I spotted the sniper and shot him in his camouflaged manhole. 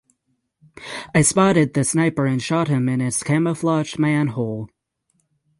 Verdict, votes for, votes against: accepted, 3, 0